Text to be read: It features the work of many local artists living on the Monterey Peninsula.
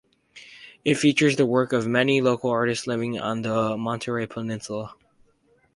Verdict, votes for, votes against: accepted, 4, 0